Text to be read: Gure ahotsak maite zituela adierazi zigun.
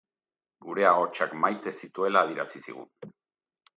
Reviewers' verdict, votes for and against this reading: accepted, 4, 0